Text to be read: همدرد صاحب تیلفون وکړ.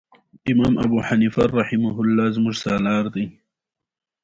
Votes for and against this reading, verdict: 1, 2, rejected